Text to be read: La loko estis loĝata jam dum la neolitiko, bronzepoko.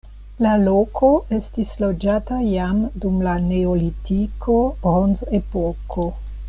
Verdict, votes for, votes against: accepted, 2, 0